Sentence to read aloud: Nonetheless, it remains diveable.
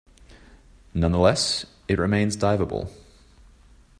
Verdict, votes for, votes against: accepted, 2, 0